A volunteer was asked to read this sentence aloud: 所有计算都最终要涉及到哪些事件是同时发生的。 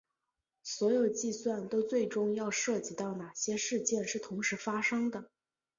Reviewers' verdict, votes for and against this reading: accepted, 2, 0